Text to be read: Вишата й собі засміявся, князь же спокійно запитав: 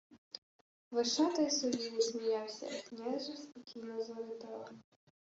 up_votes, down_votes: 1, 2